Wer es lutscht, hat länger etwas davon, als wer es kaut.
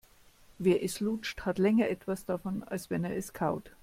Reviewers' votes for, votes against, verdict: 0, 2, rejected